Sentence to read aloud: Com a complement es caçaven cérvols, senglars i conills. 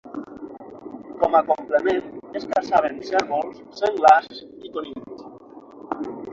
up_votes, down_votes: 6, 0